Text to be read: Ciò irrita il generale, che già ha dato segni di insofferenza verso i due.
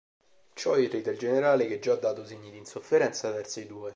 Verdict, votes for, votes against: rejected, 1, 2